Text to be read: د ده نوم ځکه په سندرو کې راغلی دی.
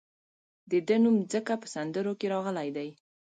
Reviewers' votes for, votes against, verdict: 1, 2, rejected